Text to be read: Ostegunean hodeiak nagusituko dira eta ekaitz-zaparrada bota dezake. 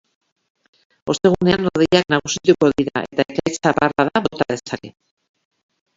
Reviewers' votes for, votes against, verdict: 0, 2, rejected